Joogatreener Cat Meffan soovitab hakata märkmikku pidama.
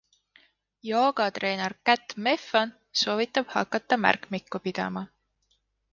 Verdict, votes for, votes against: rejected, 0, 2